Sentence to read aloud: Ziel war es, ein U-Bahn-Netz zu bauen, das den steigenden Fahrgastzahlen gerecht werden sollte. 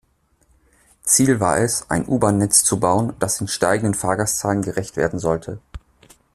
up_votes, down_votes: 2, 0